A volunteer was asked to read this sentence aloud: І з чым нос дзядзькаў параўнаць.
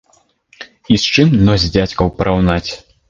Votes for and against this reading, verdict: 2, 0, accepted